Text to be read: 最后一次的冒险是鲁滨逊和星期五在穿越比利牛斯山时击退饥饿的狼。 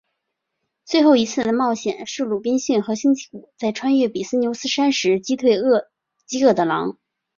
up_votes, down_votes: 2, 0